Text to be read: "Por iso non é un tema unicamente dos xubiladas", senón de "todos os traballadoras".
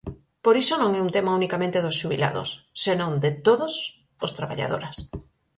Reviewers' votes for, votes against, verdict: 0, 4, rejected